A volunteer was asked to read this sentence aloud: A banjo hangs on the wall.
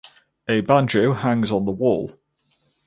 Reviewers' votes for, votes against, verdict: 4, 0, accepted